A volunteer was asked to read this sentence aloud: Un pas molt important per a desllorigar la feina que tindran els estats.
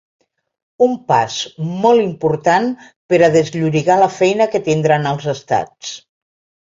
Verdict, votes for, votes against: accepted, 2, 0